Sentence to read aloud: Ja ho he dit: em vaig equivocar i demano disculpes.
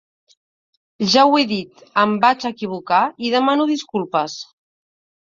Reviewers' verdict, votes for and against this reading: accepted, 2, 0